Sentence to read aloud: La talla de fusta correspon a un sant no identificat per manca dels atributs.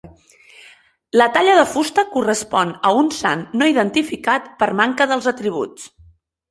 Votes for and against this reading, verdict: 4, 0, accepted